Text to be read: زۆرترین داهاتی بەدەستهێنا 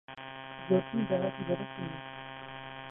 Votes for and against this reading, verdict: 0, 2, rejected